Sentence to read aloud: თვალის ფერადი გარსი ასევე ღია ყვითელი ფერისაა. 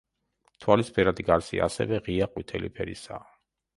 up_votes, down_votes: 2, 0